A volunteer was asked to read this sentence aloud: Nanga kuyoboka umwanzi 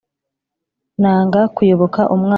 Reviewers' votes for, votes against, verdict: 1, 2, rejected